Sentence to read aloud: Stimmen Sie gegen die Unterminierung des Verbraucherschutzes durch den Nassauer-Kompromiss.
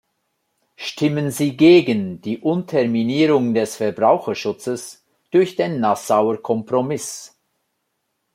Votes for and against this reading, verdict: 2, 0, accepted